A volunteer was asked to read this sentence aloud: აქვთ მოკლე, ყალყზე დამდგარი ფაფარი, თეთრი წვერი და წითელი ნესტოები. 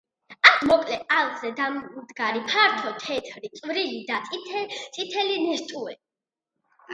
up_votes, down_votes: 1, 2